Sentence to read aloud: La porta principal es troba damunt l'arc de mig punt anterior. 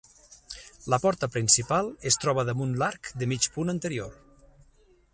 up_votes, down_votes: 6, 0